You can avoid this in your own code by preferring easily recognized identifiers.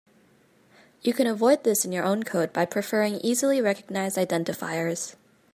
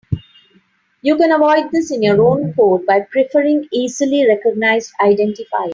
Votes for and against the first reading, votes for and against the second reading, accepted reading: 2, 0, 0, 2, first